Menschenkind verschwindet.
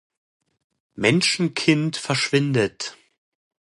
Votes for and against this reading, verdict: 2, 0, accepted